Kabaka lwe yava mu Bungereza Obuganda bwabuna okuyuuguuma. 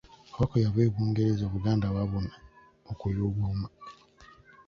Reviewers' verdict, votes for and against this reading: rejected, 1, 2